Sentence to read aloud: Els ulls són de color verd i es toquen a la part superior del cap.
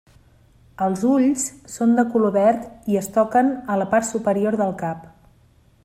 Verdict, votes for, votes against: accepted, 3, 0